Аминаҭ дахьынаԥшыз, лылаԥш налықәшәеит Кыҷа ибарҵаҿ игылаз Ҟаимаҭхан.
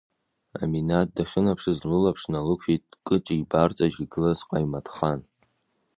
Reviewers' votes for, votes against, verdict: 2, 0, accepted